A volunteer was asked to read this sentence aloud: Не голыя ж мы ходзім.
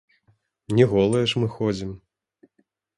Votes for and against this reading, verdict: 0, 2, rejected